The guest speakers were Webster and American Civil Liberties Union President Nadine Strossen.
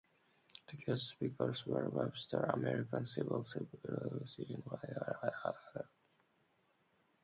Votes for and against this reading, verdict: 0, 2, rejected